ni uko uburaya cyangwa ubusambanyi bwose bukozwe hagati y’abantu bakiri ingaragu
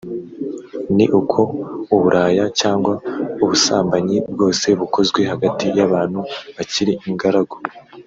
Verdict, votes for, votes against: accepted, 2, 0